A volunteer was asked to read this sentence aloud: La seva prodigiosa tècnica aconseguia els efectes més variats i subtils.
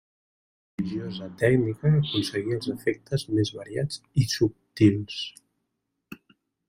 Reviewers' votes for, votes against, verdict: 0, 2, rejected